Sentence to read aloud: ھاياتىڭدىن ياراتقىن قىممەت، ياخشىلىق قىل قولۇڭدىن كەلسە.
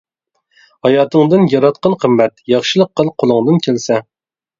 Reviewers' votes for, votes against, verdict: 2, 0, accepted